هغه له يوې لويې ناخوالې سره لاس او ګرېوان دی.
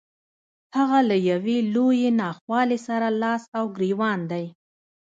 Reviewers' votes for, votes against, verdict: 0, 2, rejected